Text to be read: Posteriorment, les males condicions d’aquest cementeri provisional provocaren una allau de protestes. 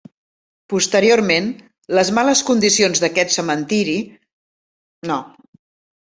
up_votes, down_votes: 0, 2